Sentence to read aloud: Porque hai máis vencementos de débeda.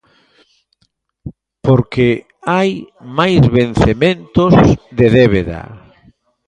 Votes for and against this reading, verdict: 2, 0, accepted